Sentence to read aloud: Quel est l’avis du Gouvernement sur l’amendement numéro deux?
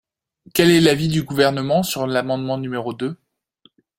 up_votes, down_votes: 2, 0